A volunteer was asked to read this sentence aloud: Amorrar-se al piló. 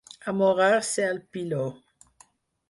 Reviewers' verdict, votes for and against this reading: accepted, 4, 0